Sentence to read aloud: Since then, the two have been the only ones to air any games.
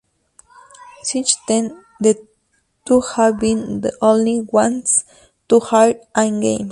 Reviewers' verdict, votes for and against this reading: rejected, 0, 2